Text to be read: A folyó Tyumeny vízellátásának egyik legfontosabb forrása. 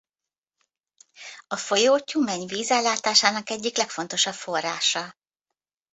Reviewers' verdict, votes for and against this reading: accepted, 2, 0